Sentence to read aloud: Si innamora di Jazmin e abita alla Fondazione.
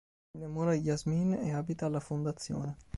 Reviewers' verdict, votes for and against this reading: rejected, 2, 3